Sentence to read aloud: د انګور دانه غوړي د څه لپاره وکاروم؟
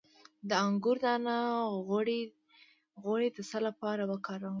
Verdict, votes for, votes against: rejected, 0, 2